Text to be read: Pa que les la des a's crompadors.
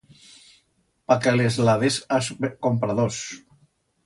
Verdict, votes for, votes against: rejected, 1, 2